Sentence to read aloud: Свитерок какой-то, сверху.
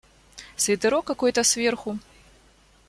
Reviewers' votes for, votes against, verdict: 2, 0, accepted